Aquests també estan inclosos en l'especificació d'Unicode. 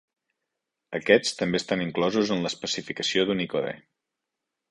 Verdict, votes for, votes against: accepted, 3, 0